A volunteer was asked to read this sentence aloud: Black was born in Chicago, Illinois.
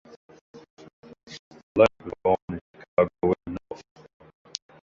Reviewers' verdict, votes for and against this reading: rejected, 0, 2